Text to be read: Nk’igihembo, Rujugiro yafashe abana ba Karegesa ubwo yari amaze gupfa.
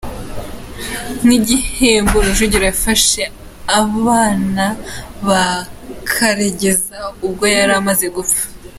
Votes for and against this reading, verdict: 3, 0, accepted